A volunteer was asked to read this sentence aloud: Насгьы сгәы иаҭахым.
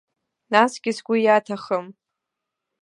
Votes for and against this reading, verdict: 2, 0, accepted